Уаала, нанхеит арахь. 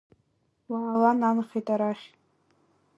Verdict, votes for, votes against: rejected, 0, 2